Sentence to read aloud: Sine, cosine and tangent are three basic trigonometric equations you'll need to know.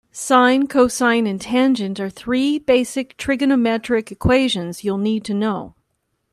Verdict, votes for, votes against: accepted, 2, 0